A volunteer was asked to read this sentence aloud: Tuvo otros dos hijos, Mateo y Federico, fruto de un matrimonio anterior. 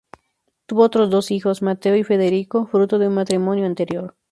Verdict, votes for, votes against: accepted, 4, 0